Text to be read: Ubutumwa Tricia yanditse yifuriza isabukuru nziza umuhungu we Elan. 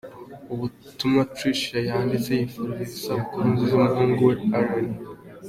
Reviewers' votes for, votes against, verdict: 2, 0, accepted